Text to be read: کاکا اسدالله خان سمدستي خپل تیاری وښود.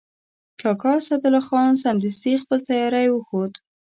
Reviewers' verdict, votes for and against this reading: accepted, 2, 0